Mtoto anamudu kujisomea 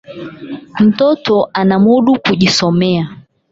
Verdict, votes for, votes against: accepted, 8, 4